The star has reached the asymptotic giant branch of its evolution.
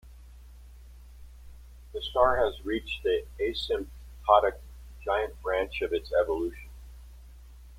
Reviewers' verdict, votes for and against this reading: rejected, 1, 3